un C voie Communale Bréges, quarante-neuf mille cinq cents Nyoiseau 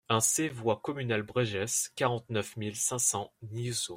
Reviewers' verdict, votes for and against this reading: rejected, 0, 2